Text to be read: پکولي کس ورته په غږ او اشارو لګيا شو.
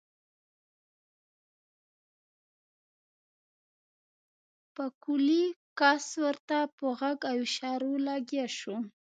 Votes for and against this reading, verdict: 1, 2, rejected